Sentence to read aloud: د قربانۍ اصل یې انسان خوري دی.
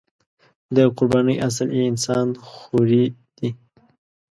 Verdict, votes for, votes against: rejected, 0, 2